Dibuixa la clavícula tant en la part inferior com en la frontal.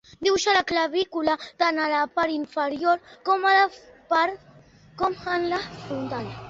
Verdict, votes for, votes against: rejected, 0, 2